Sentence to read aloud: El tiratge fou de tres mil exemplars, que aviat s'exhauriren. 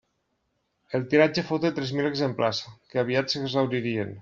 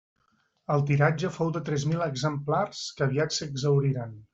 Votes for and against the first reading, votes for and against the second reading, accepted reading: 1, 2, 2, 0, second